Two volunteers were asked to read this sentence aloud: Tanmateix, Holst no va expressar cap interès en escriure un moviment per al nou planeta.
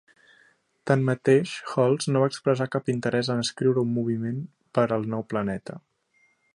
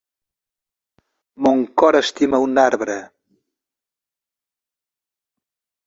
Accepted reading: first